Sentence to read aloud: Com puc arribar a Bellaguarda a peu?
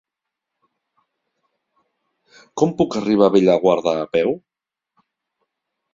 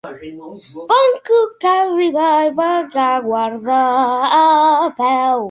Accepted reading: first